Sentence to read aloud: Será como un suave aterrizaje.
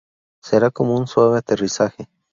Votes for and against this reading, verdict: 2, 0, accepted